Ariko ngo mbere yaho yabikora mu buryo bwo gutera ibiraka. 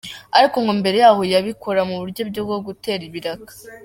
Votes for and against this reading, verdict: 2, 1, accepted